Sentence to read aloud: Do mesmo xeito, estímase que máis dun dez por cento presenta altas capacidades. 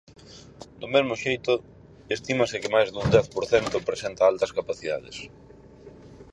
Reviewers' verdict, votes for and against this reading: accepted, 4, 0